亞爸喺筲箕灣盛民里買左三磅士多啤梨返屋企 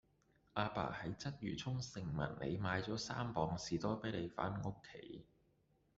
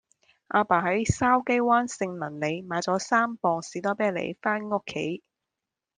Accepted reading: second